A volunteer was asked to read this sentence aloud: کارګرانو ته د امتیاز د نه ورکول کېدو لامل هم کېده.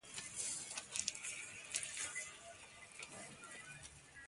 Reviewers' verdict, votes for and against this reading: rejected, 1, 2